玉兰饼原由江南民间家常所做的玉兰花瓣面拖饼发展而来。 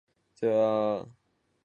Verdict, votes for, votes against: rejected, 0, 2